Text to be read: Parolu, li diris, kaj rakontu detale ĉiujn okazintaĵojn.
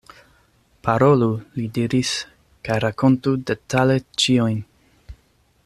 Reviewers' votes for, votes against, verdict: 0, 2, rejected